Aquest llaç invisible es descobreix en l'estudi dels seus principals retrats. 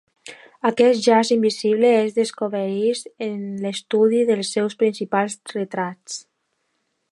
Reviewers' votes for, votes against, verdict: 1, 3, rejected